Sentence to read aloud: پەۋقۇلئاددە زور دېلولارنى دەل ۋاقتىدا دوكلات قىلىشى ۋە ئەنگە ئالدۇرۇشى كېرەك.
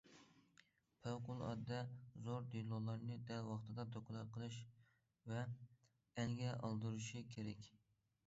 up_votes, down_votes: 0, 2